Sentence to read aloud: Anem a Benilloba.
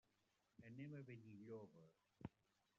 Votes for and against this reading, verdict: 0, 2, rejected